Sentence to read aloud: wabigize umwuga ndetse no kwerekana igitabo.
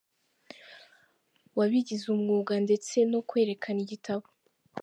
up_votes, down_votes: 2, 0